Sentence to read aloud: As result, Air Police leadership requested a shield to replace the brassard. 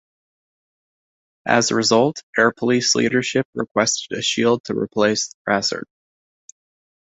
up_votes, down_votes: 1, 2